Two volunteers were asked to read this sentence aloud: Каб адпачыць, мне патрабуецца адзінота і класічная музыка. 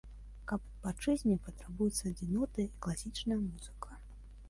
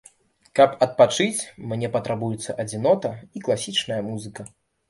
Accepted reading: second